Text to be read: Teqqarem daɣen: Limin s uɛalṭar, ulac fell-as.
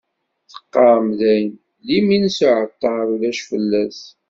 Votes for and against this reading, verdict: 0, 2, rejected